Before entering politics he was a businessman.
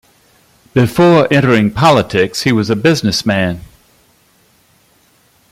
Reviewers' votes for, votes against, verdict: 2, 0, accepted